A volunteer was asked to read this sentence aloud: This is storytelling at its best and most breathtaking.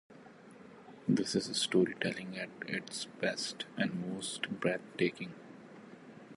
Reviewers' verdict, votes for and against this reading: rejected, 2, 2